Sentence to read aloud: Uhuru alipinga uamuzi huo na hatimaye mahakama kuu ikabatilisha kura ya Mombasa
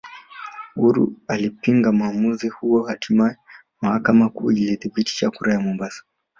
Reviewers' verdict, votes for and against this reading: rejected, 1, 2